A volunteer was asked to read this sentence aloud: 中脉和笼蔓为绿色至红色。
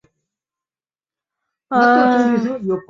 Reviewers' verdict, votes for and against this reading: rejected, 2, 2